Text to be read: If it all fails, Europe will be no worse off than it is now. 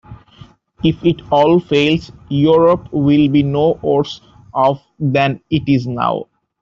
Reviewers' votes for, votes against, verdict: 2, 0, accepted